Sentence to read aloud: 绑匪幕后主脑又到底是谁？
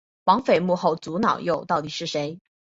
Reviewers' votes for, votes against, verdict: 8, 0, accepted